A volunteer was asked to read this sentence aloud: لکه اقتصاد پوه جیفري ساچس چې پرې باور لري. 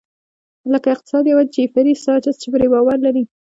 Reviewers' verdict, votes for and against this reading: accepted, 2, 0